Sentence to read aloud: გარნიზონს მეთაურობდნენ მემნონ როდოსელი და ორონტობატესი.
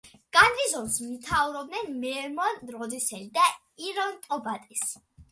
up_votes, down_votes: 0, 2